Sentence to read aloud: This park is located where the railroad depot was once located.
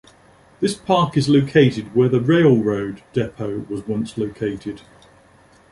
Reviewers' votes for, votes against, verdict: 2, 0, accepted